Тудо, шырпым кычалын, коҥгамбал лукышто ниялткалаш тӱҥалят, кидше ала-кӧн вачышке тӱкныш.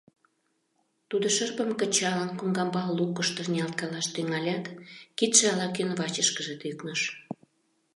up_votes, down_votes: 2, 1